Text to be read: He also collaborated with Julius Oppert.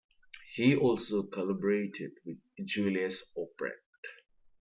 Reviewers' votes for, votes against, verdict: 1, 2, rejected